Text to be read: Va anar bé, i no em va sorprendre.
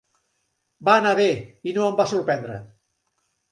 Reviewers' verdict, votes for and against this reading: accepted, 3, 0